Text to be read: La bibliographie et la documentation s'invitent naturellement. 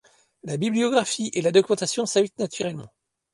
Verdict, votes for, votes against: rejected, 1, 2